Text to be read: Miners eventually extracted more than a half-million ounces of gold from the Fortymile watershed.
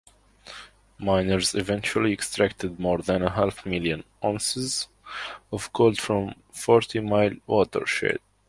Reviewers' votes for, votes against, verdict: 1, 2, rejected